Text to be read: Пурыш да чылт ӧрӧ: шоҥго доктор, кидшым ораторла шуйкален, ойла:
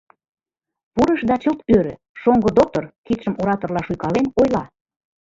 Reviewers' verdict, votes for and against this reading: accepted, 3, 2